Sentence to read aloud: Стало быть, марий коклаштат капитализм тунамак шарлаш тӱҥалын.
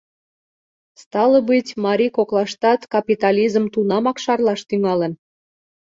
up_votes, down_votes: 3, 0